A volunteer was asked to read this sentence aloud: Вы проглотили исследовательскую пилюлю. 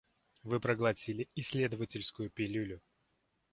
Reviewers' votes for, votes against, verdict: 2, 1, accepted